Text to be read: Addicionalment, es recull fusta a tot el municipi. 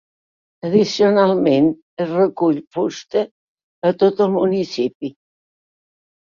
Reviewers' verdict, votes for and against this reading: accepted, 3, 1